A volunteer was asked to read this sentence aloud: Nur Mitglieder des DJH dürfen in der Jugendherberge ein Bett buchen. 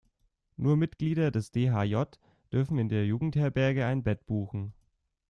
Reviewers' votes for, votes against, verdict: 0, 2, rejected